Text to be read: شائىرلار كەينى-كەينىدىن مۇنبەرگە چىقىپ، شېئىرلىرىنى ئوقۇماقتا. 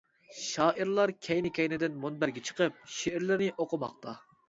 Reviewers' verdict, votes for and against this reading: accepted, 2, 0